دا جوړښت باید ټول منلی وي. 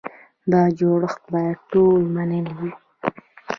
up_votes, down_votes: 1, 2